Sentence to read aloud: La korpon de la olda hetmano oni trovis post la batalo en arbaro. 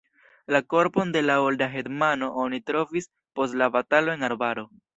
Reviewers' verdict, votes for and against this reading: accepted, 2, 0